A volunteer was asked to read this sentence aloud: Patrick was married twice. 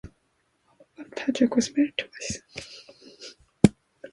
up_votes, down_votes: 1, 2